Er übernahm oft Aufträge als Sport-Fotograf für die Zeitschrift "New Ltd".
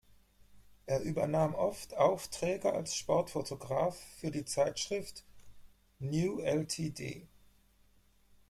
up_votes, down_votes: 2, 4